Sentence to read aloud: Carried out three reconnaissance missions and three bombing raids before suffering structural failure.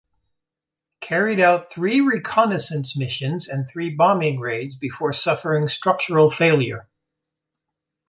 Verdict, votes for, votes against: accepted, 2, 0